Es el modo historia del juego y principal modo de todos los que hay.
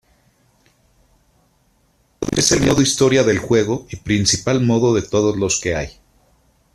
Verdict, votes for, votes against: accepted, 2, 1